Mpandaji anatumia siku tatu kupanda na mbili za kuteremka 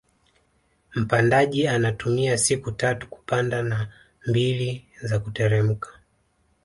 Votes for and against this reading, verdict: 2, 0, accepted